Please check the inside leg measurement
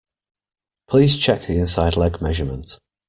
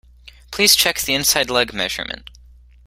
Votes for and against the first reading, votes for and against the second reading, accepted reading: 1, 2, 2, 0, second